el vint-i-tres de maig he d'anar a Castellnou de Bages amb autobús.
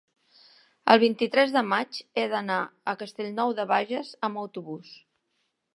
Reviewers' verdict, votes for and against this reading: accepted, 2, 0